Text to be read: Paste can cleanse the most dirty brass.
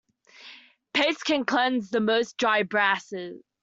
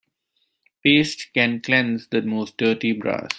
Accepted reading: second